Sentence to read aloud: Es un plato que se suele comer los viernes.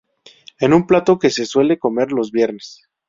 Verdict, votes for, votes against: rejected, 0, 2